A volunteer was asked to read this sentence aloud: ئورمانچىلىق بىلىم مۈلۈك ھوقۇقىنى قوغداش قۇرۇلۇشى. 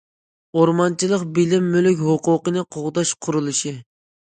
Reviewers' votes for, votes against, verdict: 2, 0, accepted